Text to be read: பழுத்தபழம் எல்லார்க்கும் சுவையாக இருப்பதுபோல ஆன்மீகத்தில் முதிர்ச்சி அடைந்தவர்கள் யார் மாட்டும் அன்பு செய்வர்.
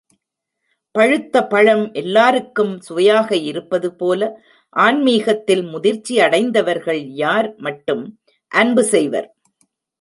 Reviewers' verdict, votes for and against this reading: rejected, 0, 2